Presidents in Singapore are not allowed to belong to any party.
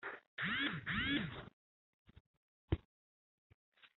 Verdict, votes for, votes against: rejected, 0, 3